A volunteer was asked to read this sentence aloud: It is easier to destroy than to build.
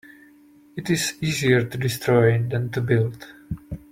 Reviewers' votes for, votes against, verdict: 2, 0, accepted